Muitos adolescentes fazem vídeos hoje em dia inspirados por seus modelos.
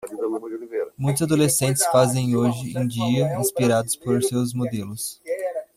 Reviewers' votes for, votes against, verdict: 0, 2, rejected